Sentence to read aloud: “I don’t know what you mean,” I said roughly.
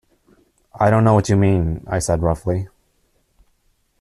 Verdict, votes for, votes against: accepted, 2, 0